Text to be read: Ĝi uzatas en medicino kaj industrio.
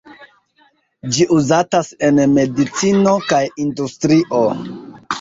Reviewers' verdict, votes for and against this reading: accepted, 2, 0